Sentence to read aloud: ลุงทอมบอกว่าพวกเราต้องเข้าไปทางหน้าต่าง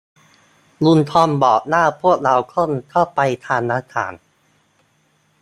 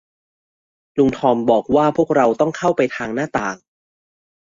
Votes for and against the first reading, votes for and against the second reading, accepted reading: 0, 2, 2, 0, second